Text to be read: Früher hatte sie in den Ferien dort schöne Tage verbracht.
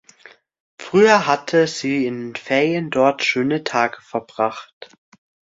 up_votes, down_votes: 1, 3